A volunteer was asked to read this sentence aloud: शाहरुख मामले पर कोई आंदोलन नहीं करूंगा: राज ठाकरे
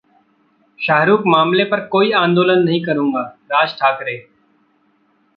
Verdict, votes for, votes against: rejected, 1, 2